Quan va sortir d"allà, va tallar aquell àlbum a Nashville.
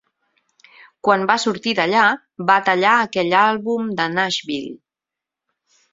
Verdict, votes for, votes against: rejected, 0, 4